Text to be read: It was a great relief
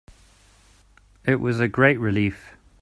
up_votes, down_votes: 3, 0